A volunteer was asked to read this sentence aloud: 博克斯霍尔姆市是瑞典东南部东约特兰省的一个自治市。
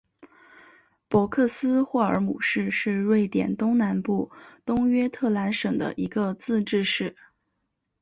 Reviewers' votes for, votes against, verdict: 2, 0, accepted